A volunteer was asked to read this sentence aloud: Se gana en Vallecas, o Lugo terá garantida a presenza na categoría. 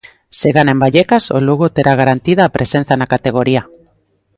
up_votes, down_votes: 3, 0